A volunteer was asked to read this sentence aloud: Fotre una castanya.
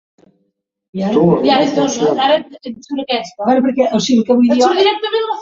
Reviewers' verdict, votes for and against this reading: rejected, 1, 2